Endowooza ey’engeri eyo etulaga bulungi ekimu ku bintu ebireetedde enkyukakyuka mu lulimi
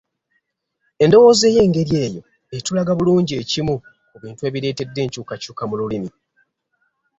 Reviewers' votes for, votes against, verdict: 2, 0, accepted